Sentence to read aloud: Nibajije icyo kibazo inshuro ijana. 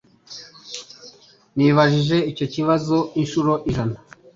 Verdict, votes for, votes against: accepted, 3, 0